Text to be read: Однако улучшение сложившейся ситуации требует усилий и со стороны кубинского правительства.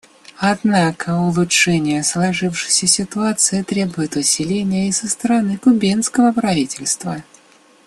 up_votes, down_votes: 1, 2